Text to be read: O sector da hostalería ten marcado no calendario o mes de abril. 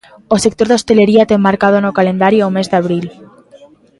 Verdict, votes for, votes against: accepted, 2, 0